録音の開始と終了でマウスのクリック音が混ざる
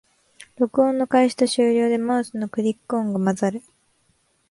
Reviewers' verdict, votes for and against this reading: accepted, 2, 0